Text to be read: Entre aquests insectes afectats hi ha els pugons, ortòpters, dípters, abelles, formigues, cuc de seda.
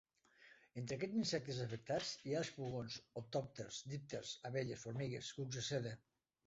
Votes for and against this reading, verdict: 1, 2, rejected